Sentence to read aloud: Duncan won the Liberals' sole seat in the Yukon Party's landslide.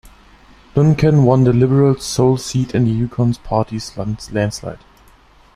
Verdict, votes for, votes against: rejected, 1, 2